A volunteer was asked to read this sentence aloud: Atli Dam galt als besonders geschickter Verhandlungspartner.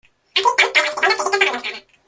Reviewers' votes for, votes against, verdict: 0, 2, rejected